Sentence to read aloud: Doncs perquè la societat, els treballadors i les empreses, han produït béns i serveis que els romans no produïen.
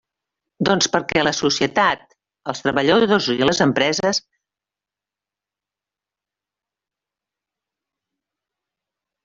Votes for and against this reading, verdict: 0, 2, rejected